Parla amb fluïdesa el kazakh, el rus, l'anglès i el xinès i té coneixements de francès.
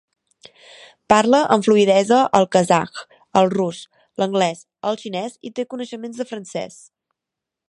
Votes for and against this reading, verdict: 1, 2, rejected